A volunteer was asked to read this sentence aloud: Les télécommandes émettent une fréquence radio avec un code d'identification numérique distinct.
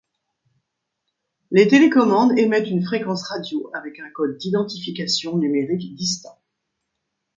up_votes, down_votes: 2, 0